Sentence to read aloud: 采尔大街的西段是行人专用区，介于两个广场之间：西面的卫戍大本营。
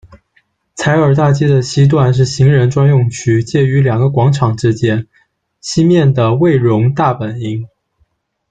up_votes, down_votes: 1, 3